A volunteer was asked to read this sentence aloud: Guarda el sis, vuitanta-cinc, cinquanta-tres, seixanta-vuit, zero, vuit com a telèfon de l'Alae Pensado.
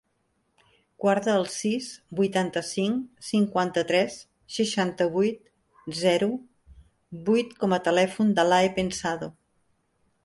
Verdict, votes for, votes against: rejected, 0, 2